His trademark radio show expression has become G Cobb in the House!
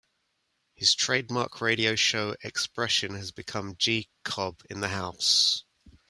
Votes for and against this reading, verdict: 2, 0, accepted